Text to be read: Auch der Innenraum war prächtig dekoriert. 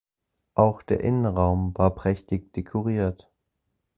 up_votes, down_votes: 4, 0